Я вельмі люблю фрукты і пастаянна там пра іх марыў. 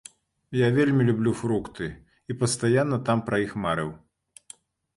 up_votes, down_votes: 2, 0